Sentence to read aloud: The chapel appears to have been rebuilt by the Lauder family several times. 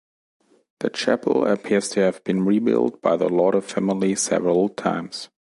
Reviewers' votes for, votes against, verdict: 2, 0, accepted